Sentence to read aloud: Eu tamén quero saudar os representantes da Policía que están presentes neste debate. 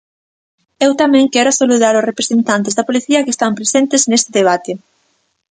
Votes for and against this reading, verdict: 0, 2, rejected